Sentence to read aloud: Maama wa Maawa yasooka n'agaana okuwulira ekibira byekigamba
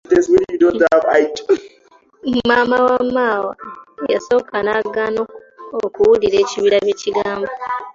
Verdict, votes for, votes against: accepted, 2, 1